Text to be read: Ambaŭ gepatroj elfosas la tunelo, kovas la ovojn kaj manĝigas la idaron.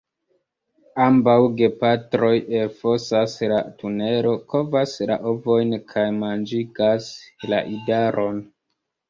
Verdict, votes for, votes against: accepted, 2, 1